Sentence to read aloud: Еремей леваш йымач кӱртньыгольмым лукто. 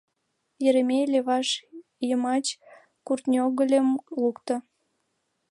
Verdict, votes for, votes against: rejected, 1, 2